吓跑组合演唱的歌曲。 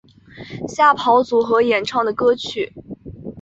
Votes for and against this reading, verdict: 2, 0, accepted